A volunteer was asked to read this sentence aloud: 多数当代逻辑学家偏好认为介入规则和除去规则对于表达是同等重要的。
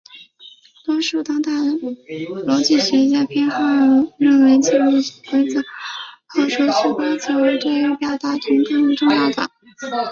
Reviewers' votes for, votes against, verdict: 0, 2, rejected